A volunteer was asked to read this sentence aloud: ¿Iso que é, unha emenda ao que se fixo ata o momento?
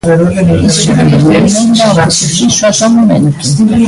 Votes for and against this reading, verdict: 1, 2, rejected